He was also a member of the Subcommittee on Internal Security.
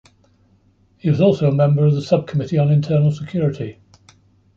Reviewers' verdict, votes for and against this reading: accepted, 2, 0